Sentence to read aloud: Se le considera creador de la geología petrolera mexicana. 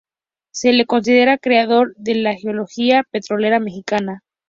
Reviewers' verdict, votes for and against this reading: accepted, 2, 0